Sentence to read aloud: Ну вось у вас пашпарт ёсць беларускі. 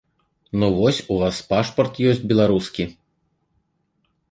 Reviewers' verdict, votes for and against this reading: accepted, 2, 0